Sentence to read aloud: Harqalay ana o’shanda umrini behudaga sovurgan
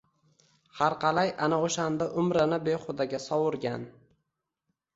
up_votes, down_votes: 1, 2